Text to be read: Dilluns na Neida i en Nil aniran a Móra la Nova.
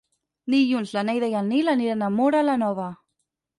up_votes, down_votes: 6, 0